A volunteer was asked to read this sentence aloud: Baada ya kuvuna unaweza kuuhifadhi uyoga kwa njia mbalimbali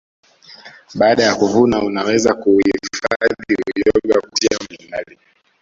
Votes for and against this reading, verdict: 1, 2, rejected